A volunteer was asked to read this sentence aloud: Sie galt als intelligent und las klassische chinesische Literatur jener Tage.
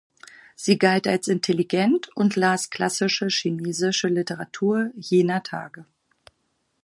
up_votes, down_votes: 2, 4